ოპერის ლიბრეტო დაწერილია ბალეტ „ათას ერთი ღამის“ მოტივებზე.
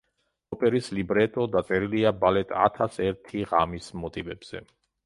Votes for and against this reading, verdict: 2, 0, accepted